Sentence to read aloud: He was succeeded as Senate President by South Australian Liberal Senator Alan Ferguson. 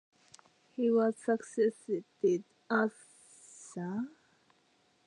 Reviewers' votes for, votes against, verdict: 0, 2, rejected